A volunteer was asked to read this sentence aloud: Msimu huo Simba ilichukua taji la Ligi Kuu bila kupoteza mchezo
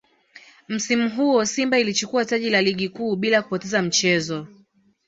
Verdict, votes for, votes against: accepted, 2, 0